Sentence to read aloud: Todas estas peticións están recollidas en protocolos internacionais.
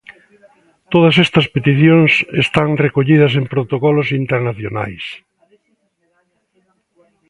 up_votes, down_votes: 2, 0